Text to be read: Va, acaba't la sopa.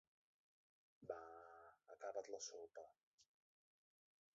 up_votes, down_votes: 0, 2